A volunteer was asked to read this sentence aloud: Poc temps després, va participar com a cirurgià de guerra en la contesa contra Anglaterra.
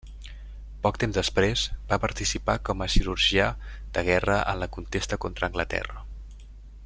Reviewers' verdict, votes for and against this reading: rejected, 0, 2